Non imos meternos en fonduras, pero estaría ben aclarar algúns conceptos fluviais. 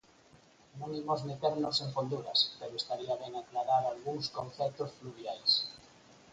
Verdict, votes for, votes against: rejected, 0, 4